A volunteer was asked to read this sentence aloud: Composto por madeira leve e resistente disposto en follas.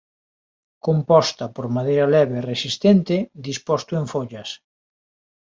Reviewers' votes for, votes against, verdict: 1, 2, rejected